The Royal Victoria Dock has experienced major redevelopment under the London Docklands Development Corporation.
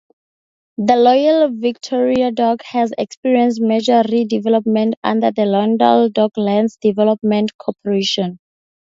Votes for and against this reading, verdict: 0, 2, rejected